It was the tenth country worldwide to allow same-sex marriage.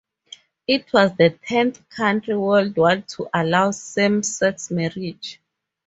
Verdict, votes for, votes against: accepted, 2, 0